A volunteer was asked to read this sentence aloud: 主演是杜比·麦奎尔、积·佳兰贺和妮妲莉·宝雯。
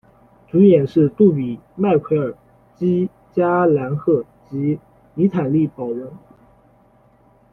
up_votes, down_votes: 2, 1